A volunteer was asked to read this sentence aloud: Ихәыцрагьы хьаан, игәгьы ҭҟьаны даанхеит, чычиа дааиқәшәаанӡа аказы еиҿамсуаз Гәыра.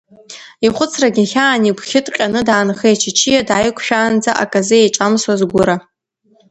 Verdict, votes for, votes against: accepted, 2, 0